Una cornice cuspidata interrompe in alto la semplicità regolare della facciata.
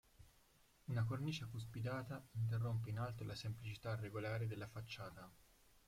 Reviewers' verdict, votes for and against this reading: rejected, 0, 6